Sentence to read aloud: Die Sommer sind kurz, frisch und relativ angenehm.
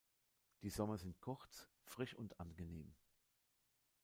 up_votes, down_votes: 0, 2